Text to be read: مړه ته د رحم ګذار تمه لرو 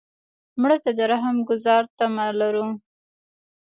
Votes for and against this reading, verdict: 1, 2, rejected